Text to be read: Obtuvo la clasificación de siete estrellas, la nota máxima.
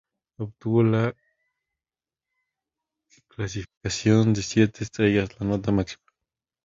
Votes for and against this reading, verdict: 2, 2, rejected